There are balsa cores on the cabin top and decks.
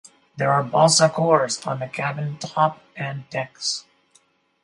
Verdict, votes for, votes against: accepted, 4, 0